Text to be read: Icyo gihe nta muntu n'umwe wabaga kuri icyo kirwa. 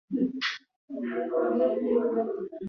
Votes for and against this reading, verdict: 0, 2, rejected